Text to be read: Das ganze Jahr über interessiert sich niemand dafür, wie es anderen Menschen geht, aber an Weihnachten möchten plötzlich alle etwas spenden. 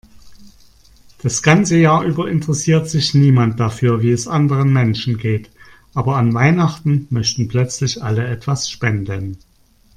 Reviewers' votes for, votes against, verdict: 2, 0, accepted